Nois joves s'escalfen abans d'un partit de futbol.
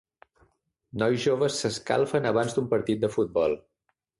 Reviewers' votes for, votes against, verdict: 3, 0, accepted